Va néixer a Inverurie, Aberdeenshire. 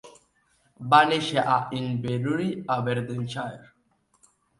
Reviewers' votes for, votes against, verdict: 2, 0, accepted